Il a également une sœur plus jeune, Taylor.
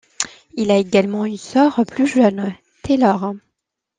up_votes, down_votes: 2, 0